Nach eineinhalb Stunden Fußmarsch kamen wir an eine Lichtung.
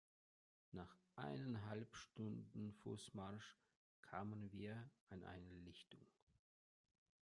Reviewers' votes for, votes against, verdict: 1, 2, rejected